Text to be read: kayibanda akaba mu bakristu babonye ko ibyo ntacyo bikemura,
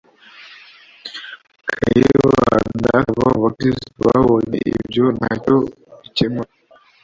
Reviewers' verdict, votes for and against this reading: rejected, 0, 2